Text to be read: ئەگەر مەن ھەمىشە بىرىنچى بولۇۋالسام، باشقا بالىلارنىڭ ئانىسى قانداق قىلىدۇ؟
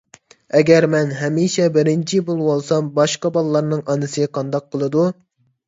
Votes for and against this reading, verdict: 2, 0, accepted